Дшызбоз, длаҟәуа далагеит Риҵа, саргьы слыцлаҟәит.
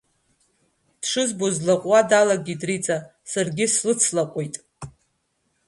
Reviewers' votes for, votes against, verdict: 1, 2, rejected